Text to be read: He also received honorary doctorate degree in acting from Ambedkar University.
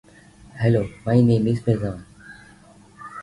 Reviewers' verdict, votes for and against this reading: rejected, 0, 2